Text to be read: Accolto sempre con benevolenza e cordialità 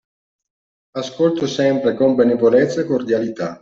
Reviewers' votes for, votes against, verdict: 1, 2, rejected